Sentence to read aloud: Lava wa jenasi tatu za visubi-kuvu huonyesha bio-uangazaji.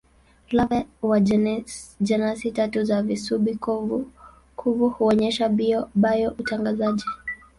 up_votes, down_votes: 0, 2